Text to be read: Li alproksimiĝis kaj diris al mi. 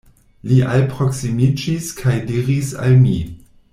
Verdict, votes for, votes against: accepted, 2, 0